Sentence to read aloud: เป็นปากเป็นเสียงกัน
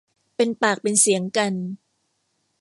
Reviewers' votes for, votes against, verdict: 1, 2, rejected